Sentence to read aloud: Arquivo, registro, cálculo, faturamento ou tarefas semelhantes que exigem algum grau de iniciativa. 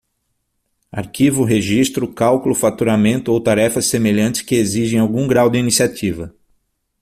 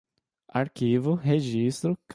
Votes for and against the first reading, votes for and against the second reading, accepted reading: 6, 0, 0, 2, first